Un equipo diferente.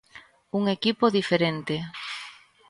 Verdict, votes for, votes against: accepted, 2, 0